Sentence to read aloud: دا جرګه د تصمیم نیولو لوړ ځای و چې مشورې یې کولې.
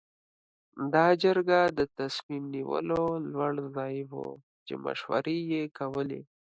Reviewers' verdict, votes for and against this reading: accepted, 3, 0